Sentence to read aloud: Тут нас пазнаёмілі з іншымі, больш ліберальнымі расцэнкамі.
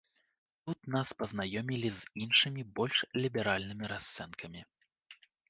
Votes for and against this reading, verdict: 2, 0, accepted